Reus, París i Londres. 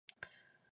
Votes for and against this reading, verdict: 1, 2, rejected